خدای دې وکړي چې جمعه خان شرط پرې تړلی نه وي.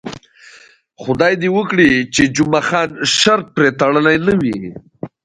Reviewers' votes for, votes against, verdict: 2, 0, accepted